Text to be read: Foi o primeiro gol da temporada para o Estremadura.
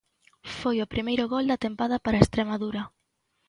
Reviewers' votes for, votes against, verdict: 1, 2, rejected